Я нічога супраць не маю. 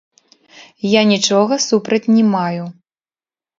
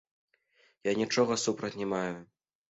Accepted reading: second